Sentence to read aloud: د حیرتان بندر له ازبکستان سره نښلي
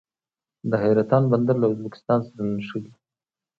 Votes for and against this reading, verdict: 2, 0, accepted